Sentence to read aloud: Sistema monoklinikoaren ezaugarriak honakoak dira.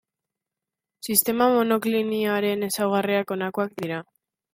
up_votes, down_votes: 0, 2